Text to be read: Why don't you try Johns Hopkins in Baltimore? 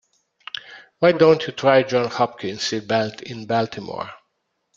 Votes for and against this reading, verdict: 0, 2, rejected